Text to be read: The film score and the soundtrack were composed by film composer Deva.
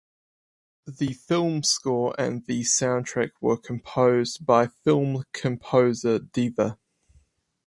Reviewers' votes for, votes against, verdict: 4, 0, accepted